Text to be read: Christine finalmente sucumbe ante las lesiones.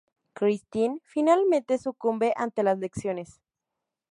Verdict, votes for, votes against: rejected, 2, 2